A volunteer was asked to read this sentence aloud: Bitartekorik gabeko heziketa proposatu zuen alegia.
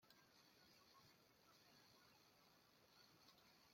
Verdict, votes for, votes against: rejected, 0, 2